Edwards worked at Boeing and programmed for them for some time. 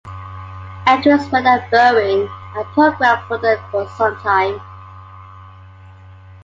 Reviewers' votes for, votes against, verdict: 2, 0, accepted